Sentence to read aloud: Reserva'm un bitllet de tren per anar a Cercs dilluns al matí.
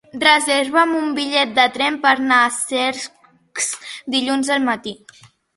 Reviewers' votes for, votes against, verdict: 0, 2, rejected